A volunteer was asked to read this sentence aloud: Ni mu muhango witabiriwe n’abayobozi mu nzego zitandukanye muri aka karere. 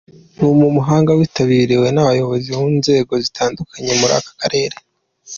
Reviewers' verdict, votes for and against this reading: accepted, 2, 0